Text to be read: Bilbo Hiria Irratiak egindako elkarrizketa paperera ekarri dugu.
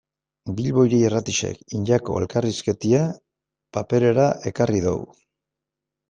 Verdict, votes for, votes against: rejected, 1, 2